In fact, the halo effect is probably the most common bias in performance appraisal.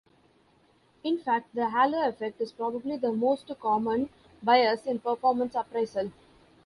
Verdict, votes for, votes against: rejected, 1, 2